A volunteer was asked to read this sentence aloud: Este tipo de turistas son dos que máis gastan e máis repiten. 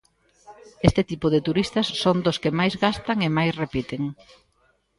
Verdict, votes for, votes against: accepted, 2, 0